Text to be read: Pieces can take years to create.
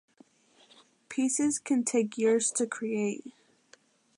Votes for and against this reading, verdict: 2, 1, accepted